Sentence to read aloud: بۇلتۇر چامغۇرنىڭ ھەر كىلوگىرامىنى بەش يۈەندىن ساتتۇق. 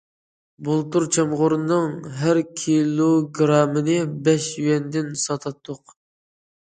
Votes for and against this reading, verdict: 0, 2, rejected